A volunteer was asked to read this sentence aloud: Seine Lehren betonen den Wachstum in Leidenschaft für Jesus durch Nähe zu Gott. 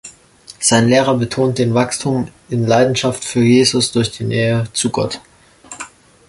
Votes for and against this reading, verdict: 0, 2, rejected